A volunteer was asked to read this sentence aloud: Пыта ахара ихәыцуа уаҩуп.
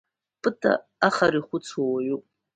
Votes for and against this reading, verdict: 2, 1, accepted